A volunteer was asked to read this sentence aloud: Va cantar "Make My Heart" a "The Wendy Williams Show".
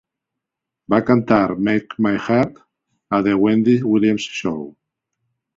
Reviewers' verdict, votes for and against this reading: accepted, 2, 1